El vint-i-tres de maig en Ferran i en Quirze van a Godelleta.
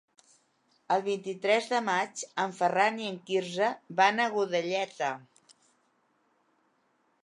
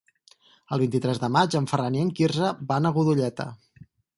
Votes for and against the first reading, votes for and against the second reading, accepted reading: 2, 0, 2, 4, first